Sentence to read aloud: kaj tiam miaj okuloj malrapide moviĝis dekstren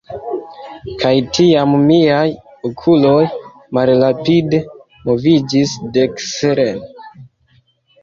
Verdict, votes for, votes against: rejected, 1, 2